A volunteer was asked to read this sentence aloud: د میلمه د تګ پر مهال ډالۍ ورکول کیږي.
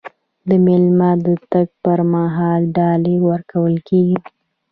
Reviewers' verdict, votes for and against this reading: rejected, 0, 2